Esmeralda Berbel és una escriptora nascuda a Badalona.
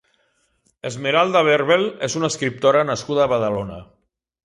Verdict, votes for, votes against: accepted, 2, 0